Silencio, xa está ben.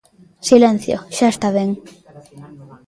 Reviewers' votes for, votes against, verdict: 2, 1, accepted